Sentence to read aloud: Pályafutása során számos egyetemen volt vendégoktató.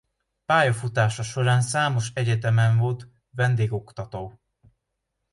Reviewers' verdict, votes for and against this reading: accepted, 2, 0